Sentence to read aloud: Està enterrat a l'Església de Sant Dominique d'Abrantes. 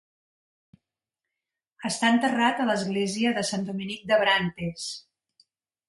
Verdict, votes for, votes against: accepted, 2, 0